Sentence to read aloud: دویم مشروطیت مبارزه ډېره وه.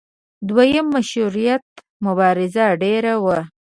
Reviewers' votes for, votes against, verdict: 2, 0, accepted